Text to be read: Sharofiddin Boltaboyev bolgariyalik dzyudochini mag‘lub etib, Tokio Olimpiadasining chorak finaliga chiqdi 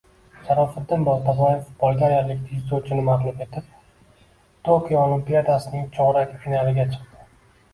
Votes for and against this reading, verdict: 2, 0, accepted